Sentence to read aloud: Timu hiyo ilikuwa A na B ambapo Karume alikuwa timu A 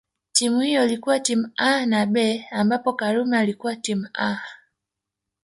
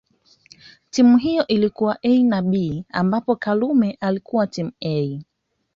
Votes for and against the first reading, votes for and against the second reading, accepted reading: 0, 2, 2, 0, second